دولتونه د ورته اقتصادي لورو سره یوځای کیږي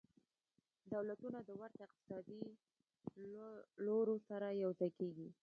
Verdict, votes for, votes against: rejected, 0, 2